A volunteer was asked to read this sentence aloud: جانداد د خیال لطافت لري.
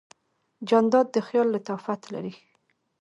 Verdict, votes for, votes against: accepted, 2, 1